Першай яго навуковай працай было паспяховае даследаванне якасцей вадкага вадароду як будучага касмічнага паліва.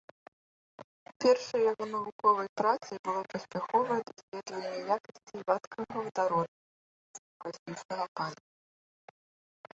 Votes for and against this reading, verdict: 0, 2, rejected